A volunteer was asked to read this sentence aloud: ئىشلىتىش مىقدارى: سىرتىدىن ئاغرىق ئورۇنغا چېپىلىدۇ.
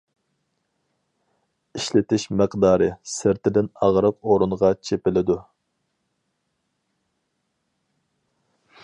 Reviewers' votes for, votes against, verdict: 4, 0, accepted